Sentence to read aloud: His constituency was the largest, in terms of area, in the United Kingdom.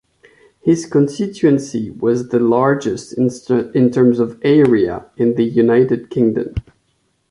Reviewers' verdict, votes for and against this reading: rejected, 0, 2